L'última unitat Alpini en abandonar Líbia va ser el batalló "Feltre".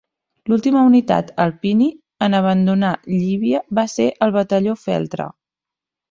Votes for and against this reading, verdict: 1, 2, rejected